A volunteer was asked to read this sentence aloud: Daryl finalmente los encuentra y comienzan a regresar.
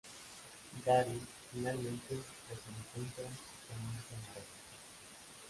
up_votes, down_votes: 0, 2